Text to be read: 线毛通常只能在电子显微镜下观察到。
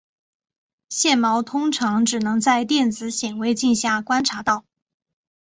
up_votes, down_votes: 2, 1